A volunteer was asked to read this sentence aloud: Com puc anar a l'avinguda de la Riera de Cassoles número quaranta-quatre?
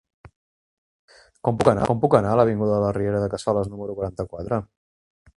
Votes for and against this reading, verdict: 1, 2, rejected